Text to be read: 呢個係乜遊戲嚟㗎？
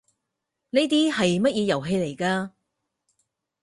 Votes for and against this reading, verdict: 0, 4, rejected